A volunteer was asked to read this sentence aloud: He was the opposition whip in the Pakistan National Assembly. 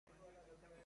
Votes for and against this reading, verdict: 0, 2, rejected